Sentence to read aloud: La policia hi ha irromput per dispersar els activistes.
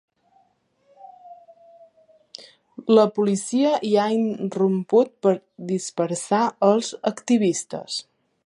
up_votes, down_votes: 0, 2